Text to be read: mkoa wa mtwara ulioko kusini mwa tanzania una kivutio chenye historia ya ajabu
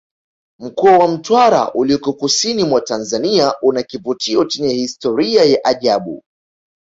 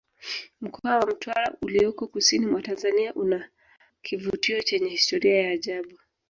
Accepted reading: first